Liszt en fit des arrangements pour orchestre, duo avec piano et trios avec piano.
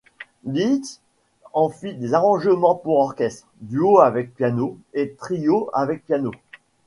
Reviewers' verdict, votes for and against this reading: accepted, 2, 0